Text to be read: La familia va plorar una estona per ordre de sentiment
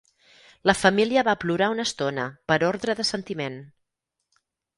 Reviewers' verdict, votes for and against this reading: accepted, 6, 0